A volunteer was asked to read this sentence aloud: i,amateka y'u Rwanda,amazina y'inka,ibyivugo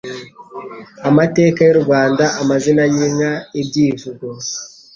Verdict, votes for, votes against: accepted, 2, 0